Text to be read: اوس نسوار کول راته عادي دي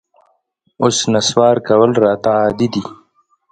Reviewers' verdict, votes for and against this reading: accepted, 2, 0